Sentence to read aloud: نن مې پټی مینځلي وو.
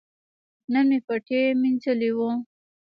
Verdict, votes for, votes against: accepted, 2, 1